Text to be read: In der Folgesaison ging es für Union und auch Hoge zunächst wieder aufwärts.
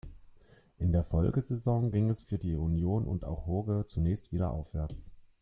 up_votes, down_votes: 2, 1